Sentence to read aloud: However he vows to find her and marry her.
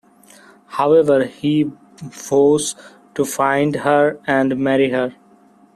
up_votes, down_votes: 1, 2